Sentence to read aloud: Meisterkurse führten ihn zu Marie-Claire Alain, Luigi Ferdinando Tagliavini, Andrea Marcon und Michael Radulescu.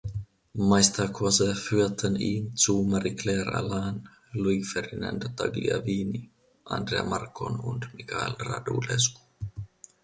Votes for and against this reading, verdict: 0, 2, rejected